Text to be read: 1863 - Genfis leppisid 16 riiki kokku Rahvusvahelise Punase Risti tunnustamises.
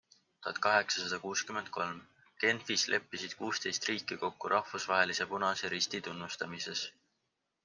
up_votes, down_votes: 0, 2